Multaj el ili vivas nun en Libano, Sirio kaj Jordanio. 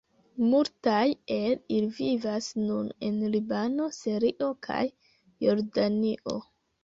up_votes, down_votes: 1, 2